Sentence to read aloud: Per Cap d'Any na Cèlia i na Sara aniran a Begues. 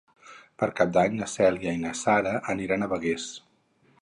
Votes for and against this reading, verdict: 2, 2, rejected